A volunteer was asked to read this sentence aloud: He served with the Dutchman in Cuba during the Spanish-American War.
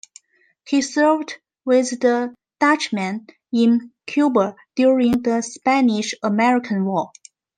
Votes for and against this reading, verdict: 2, 0, accepted